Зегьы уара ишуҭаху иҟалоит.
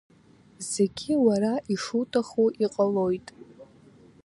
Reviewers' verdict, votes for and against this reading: accepted, 2, 0